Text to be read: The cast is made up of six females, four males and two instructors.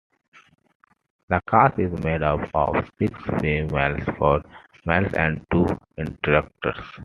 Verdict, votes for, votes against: rejected, 0, 2